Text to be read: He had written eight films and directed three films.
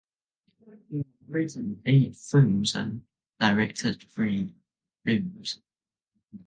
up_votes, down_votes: 0, 2